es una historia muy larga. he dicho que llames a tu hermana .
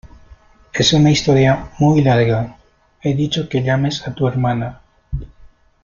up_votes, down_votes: 2, 0